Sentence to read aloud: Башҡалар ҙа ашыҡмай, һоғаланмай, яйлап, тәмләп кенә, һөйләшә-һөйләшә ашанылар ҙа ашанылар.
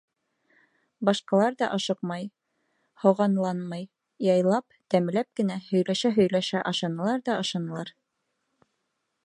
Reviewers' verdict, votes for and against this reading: rejected, 2, 4